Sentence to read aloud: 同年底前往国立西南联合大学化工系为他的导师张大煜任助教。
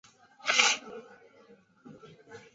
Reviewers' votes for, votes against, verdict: 1, 2, rejected